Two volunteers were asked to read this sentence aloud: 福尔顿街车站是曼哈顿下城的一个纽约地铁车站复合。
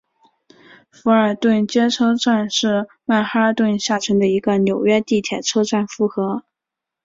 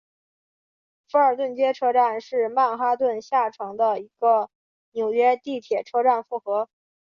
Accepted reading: second